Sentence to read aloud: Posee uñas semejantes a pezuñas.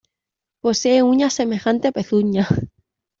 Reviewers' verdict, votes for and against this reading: accepted, 2, 1